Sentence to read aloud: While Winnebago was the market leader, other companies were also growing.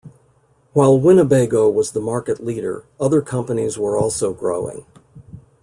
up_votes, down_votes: 2, 0